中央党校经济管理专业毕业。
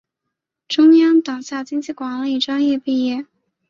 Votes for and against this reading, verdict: 4, 0, accepted